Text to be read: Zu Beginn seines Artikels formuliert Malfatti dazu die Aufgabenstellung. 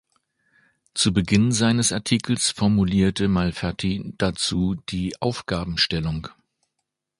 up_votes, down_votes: 1, 2